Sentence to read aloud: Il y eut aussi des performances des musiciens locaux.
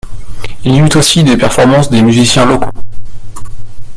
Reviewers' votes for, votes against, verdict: 0, 2, rejected